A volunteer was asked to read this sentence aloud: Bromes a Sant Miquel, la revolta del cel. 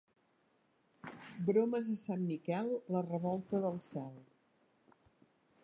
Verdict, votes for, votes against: accepted, 2, 0